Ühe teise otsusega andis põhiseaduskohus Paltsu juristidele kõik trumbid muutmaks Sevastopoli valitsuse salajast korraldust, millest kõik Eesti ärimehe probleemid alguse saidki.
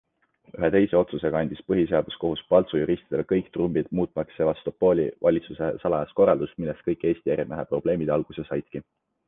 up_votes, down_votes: 2, 0